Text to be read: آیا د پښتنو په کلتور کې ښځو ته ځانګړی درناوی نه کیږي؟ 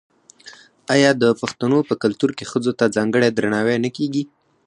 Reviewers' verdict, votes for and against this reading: rejected, 2, 4